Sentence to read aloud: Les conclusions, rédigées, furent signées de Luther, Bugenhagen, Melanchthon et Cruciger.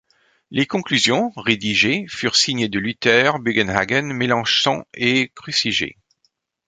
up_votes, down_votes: 3, 0